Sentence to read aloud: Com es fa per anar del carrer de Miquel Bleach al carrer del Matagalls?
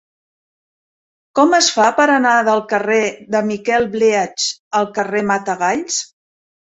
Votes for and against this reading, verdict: 0, 2, rejected